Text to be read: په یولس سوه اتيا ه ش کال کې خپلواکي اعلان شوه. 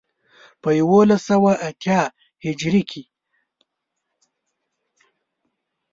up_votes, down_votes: 1, 4